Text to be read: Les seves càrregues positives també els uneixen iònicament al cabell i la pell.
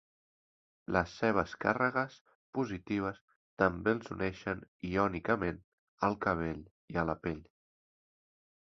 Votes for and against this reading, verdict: 1, 2, rejected